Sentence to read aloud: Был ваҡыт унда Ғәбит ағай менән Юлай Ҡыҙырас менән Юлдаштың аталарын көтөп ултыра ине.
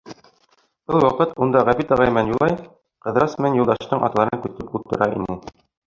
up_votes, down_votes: 1, 2